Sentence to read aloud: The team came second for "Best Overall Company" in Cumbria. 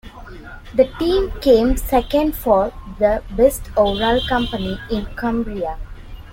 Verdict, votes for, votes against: rejected, 0, 2